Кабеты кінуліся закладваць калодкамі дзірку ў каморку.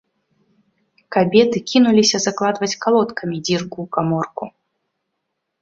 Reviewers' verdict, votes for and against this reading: accepted, 2, 0